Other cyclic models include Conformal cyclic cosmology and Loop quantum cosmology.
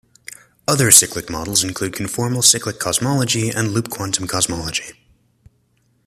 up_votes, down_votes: 2, 0